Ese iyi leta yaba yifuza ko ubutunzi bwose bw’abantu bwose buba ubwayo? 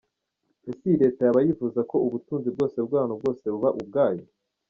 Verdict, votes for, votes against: rejected, 1, 2